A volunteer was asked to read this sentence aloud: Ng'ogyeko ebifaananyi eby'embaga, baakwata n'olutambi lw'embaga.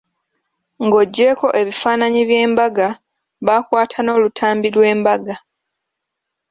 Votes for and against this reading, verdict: 2, 0, accepted